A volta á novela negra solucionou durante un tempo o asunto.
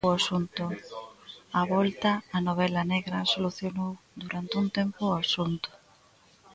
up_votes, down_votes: 0, 2